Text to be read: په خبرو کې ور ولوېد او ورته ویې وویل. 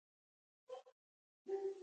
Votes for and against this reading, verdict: 0, 2, rejected